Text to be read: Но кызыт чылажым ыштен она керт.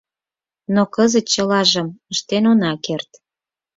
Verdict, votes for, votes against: accepted, 4, 0